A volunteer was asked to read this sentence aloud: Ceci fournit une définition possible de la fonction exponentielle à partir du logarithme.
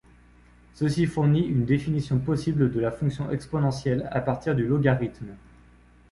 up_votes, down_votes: 2, 0